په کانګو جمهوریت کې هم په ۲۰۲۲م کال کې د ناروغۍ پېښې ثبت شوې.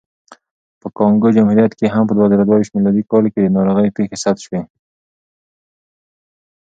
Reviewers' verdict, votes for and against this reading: rejected, 0, 2